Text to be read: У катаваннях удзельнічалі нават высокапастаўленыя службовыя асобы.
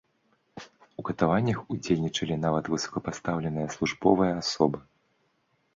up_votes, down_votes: 2, 0